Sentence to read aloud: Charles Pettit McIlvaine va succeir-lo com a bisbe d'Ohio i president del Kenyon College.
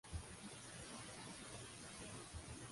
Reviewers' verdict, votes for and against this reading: rejected, 0, 2